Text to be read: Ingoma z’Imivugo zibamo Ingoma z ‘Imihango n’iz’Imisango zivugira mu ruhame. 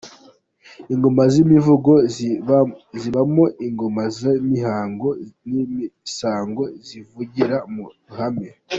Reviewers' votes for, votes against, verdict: 2, 1, accepted